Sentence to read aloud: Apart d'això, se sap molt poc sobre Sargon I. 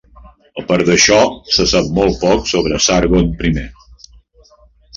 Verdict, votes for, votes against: rejected, 1, 2